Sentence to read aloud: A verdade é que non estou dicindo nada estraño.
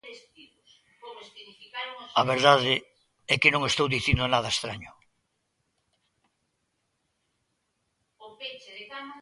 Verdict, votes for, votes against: rejected, 0, 2